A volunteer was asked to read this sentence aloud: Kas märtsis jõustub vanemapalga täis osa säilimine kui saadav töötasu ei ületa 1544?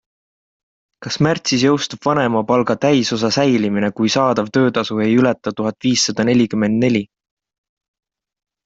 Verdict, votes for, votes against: rejected, 0, 2